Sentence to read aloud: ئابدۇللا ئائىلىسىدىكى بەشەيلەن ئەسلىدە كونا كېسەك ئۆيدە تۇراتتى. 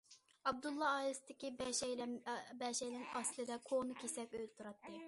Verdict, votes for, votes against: rejected, 0, 2